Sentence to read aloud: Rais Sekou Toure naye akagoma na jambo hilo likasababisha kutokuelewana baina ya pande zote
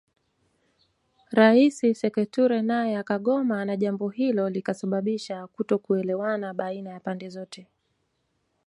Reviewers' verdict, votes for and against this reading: accepted, 2, 0